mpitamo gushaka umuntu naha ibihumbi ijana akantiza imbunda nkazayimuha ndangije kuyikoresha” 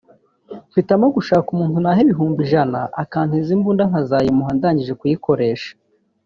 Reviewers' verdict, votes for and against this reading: accepted, 2, 0